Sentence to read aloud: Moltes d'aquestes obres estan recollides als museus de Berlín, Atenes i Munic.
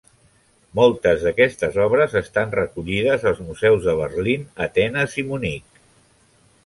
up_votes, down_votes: 3, 0